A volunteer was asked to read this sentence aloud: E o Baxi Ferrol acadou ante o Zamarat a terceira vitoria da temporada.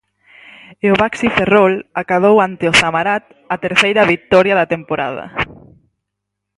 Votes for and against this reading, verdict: 4, 0, accepted